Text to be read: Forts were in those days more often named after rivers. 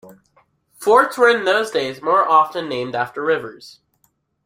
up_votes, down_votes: 2, 0